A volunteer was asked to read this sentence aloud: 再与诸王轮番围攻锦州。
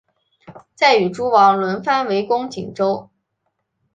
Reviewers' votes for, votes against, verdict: 2, 0, accepted